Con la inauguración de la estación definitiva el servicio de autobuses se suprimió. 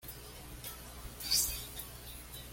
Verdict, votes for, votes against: rejected, 1, 2